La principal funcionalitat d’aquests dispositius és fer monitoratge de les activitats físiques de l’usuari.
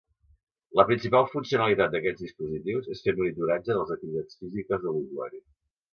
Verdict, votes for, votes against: accepted, 2, 0